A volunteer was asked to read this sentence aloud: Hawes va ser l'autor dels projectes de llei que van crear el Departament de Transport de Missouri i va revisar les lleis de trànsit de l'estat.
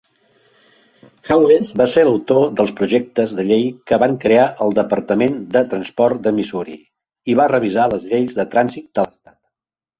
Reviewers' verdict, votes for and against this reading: accepted, 2, 0